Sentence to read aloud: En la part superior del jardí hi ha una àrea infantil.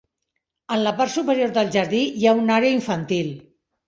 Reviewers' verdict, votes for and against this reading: accepted, 2, 0